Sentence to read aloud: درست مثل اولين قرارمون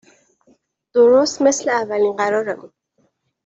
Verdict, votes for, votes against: accepted, 2, 0